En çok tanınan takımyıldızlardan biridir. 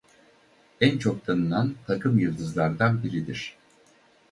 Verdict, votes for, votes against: rejected, 2, 2